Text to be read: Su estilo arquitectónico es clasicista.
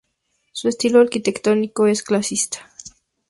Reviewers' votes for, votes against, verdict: 0, 2, rejected